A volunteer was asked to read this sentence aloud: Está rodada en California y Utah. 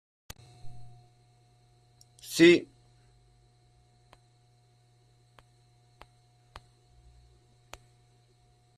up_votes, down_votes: 1, 2